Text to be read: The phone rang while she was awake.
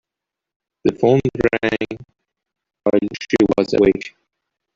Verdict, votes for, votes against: rejected, 0, 2